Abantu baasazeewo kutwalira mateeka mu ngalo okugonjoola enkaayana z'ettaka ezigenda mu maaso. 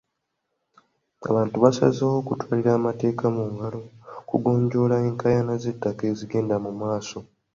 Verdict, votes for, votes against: rejected, 0, 2